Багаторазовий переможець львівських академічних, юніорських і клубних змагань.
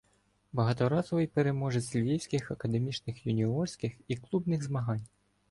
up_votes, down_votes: 2, 0